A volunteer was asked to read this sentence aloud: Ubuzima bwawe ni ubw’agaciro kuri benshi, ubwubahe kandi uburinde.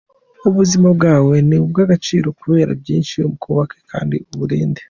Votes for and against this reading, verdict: 2, 0, accepted